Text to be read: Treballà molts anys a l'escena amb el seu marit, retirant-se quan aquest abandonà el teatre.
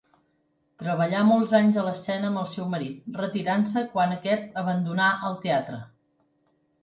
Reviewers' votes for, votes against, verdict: 3, 0, accepted